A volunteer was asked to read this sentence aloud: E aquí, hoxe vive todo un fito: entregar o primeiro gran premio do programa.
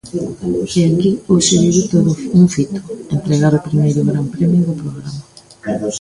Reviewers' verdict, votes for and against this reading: rejected, 1, 2